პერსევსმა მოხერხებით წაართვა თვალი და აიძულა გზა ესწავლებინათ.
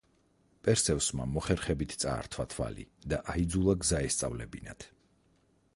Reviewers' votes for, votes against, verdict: 4, 2, accepted